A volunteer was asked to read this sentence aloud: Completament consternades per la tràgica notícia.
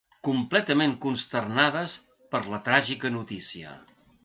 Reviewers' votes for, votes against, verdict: 3, 0, accepted